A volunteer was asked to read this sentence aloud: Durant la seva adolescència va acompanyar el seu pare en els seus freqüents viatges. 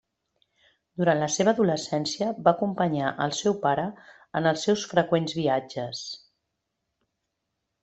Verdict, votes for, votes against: accepted, 3, 0